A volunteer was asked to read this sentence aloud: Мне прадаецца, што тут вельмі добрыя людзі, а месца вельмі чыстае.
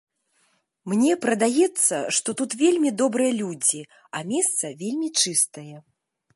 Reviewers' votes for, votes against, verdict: 2, 0, accepted